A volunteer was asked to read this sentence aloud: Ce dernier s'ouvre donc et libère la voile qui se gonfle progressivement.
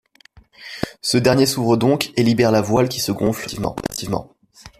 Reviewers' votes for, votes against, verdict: 1, 2, rejected